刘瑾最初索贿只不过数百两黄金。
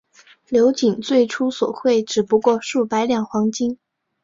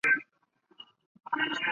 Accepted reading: first